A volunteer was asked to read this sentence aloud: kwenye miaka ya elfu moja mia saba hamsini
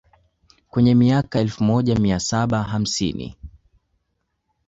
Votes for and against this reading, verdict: 2, 0, accepted